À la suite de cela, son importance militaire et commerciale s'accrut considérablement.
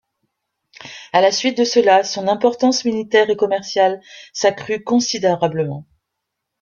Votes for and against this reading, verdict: 0, 2, rejected